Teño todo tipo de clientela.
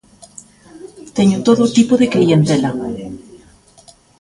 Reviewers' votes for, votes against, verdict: 1, 2, rejected